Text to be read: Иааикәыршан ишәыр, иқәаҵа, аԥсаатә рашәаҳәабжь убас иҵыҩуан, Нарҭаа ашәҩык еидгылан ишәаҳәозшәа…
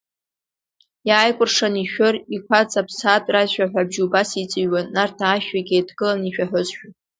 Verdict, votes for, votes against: accepted, 2, 0